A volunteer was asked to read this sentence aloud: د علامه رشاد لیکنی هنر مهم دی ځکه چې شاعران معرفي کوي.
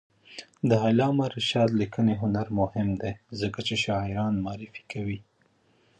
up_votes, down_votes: 1, 2